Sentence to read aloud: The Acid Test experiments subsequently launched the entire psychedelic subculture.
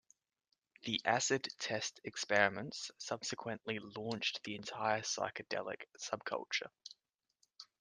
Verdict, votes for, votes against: accepted, 2, 0